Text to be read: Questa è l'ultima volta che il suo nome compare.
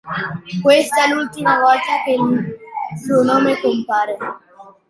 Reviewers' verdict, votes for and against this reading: rejected, 1, 2